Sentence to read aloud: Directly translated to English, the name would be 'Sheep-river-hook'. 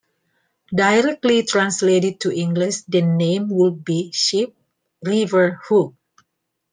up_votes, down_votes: 2, 0